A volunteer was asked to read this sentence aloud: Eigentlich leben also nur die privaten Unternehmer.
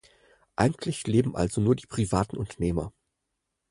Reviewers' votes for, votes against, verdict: 4, 0, accepted